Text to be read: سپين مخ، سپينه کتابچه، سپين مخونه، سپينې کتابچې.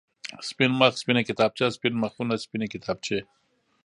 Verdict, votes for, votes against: accepted, 2, 1